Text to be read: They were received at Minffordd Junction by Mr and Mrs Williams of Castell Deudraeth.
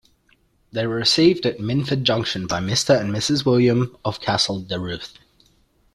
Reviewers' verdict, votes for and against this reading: rejected, 1, 2